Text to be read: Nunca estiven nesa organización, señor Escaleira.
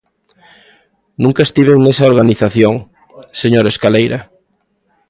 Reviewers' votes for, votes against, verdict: 2, 0, accepted